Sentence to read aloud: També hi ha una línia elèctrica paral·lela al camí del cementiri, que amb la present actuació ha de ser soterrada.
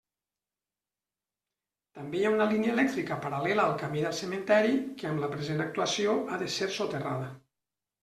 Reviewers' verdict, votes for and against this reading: rejected, 1, 2